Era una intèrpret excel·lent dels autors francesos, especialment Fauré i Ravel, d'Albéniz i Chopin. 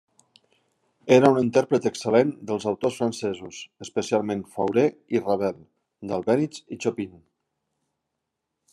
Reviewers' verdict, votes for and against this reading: rejected, 0, 2